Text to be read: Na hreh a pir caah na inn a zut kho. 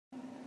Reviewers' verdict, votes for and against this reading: rejected, 0, 2